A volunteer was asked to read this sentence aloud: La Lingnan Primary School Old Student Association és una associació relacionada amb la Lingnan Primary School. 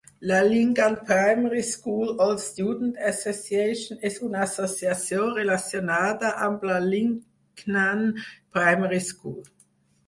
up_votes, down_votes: 6, 0